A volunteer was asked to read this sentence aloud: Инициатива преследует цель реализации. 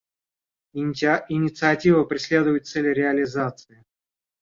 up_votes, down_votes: 1, 2